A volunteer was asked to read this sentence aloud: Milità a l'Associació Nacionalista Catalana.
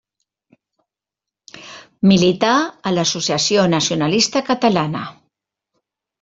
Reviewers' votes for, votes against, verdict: 3, 0, accepted